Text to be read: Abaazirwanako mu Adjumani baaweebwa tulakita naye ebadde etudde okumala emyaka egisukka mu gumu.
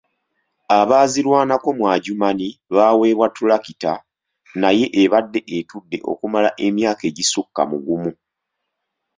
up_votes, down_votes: 2, 1